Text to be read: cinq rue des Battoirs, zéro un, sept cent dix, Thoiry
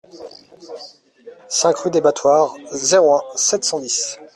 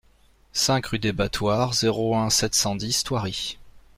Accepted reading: second